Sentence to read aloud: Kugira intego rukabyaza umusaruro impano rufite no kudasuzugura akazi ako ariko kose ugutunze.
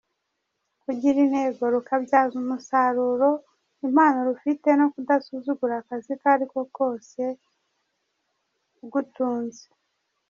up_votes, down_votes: 1, 2